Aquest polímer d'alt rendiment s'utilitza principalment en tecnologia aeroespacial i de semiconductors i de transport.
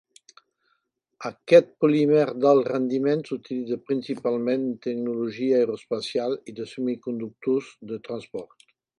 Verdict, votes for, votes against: rejected, 0, 2